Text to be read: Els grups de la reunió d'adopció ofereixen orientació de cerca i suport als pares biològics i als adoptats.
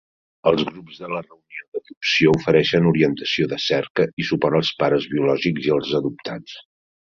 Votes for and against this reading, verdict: 1, 2, rejected